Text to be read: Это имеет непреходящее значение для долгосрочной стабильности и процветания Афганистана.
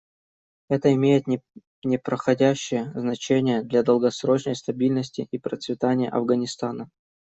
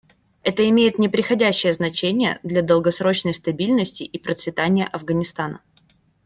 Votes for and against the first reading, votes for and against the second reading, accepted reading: 1, 2, 2, 0, second